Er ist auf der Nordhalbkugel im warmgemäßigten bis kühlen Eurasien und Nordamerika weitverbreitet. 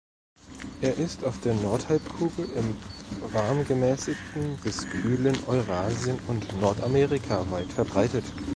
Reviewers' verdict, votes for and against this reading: rejected, 1, 2